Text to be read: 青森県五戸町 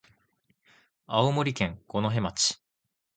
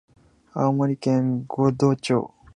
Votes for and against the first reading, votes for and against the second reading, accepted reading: 2, 0, 0, 2, first